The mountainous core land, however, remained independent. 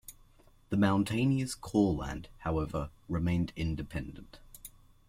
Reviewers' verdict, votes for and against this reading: rejected, 0, 2